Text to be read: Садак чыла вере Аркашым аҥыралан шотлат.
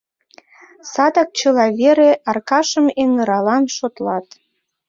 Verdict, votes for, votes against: rejected, 1, 2